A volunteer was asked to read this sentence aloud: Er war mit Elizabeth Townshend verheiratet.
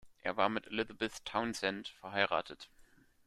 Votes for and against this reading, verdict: 2, 0, accepted